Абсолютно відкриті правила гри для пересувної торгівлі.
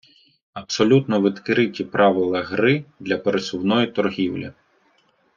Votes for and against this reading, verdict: 2, 0, accepted